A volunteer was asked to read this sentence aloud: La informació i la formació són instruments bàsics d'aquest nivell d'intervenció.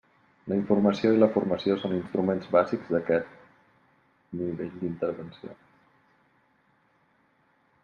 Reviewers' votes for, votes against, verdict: 0, 2, rejected